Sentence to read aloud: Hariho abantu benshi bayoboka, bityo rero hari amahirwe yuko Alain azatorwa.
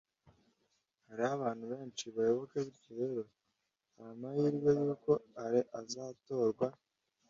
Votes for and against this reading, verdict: 0, 2, rejected